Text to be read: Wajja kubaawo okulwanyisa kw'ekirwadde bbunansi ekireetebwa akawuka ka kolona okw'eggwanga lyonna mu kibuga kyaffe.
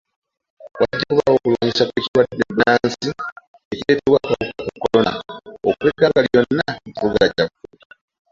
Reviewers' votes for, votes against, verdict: 0, 2, rejected